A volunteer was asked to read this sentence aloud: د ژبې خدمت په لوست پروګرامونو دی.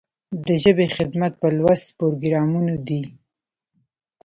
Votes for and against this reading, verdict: 0, 2, rejected